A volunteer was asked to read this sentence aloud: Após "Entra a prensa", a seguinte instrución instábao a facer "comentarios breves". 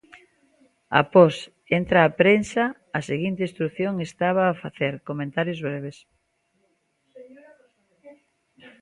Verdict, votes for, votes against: accepted, 2, 0